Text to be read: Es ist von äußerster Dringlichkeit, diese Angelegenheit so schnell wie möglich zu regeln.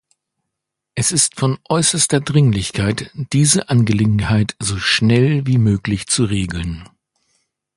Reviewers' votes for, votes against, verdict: 2, 0, accepted